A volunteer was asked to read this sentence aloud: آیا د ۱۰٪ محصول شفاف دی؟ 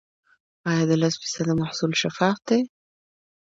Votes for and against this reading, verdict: 0, 2, rejected